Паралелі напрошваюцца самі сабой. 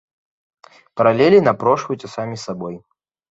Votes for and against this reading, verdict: 2, 0, accepted